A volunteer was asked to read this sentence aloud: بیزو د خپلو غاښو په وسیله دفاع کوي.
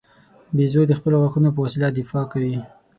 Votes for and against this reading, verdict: 6, 0, accepted